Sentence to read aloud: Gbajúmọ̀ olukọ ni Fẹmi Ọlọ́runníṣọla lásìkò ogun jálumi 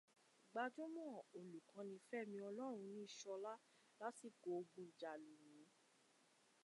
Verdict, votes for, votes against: accepted, 2, 0